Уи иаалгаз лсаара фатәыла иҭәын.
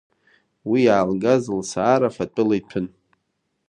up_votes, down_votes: 2, 0